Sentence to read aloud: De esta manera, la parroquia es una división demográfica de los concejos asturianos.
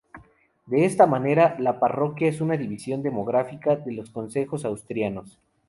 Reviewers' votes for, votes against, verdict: 0, 2, rejected